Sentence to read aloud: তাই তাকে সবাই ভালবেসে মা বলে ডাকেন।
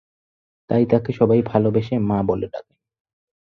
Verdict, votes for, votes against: accepted, 4, 2